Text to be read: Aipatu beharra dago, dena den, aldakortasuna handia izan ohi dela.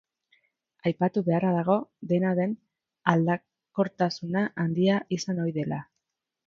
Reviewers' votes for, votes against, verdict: 3, 1, accepted